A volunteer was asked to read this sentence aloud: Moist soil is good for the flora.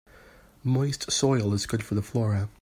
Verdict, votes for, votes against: accepted, 2, 0